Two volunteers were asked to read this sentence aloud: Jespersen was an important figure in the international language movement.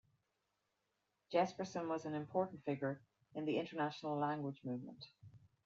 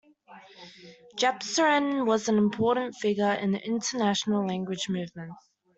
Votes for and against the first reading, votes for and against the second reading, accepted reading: 2, 0, 0, 2, first